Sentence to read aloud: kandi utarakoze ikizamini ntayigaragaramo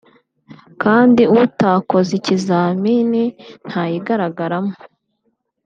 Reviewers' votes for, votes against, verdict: 0, 2, rejected